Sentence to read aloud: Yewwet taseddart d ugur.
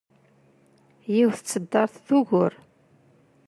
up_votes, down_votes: 1, 2